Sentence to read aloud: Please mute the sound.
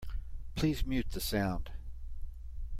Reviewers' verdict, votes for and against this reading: accepted, 2, 1